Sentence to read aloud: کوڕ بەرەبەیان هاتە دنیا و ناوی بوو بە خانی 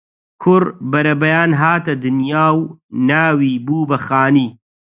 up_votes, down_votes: 4, 0